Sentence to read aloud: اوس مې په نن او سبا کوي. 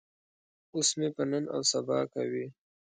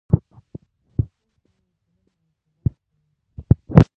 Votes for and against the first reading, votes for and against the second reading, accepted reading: 2, 0, 0, 2, first